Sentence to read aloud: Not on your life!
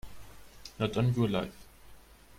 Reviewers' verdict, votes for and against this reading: rejected, 1, 2